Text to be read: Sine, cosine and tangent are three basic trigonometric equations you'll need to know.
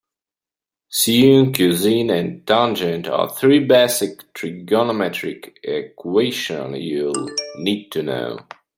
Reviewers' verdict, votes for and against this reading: rejected, 1, 2